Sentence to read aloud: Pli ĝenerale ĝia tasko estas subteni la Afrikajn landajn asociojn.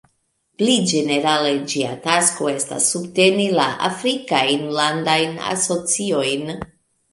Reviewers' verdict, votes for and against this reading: accepted, 2, 1